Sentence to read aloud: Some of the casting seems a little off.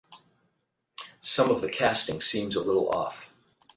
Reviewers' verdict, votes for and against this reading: accepted, 8, 0